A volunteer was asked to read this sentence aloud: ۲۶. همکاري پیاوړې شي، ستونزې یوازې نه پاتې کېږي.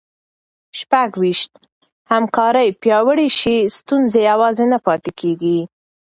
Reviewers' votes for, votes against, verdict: 0, 2, rejected